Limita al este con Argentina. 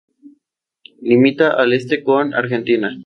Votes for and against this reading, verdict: 0, 2, rejected